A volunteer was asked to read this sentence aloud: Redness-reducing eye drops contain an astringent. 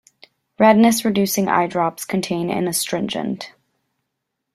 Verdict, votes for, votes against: accepted, 2, 0